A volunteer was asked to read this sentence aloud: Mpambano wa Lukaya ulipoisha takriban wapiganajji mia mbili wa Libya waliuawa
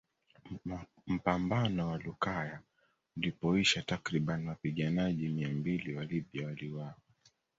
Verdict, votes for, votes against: accepted, 2, 1